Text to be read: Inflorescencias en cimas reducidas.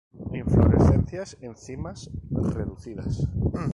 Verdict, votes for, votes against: accepted, 2, 0